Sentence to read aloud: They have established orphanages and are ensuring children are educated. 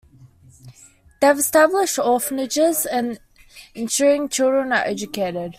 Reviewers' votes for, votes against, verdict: 2, 0, accepted